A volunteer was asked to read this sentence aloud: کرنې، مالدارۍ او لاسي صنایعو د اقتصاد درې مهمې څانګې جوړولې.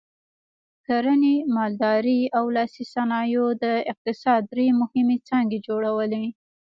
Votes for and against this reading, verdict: 1, 2, rejected